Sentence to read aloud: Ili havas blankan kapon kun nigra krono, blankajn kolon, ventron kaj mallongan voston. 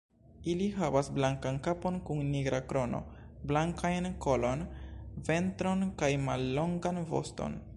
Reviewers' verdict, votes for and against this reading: rejected, 1, 2